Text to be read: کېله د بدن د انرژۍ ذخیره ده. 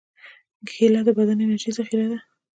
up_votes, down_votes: 3, 2